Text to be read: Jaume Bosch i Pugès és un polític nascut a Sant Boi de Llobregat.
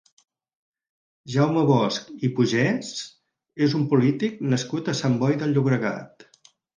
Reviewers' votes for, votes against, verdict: 4, 0, accepted